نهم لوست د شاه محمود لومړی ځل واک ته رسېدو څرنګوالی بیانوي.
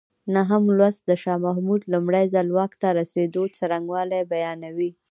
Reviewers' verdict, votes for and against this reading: accepted, 2, 0